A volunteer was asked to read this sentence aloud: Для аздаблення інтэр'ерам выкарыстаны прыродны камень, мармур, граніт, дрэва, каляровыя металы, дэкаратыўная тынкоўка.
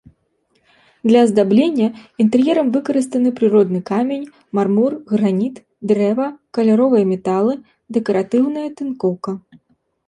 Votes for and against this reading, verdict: 2, 0, accepted